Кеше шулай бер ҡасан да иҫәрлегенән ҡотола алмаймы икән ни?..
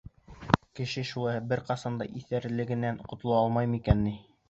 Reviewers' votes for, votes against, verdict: 3, 0, accepted